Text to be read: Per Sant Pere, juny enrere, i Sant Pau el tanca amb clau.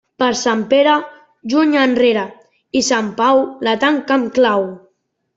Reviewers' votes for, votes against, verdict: 0, 2, rejected